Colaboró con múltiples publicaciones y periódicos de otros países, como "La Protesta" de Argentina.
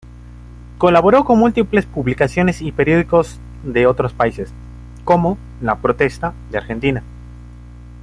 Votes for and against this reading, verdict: 3, 0, accepted